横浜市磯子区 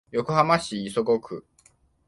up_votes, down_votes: 2, 0